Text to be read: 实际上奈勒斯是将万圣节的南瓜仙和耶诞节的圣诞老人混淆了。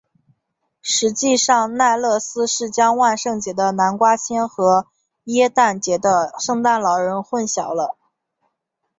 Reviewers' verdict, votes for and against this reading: accepted, 2, 0